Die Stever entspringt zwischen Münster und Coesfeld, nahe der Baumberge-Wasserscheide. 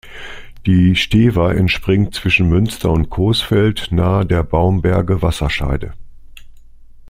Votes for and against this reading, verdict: 2, 0, accepted